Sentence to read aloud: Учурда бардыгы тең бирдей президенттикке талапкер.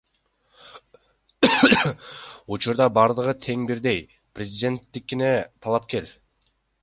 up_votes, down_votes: 0, 2